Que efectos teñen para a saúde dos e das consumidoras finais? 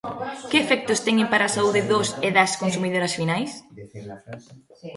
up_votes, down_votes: 0, 2